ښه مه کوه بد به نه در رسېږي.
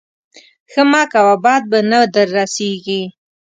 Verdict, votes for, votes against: accepted, 2, 0